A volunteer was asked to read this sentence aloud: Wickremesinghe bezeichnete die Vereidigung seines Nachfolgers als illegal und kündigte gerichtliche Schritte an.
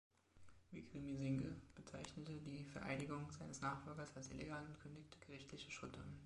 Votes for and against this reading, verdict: 0, 2, rejected